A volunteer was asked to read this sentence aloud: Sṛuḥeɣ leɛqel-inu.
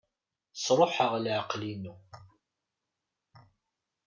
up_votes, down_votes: 2, 0